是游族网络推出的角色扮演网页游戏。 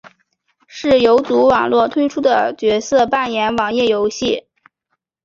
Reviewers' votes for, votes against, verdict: 2, 0, accepted